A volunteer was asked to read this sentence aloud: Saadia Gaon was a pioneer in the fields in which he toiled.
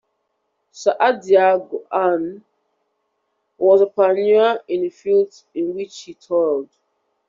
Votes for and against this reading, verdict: 1, 2, rejected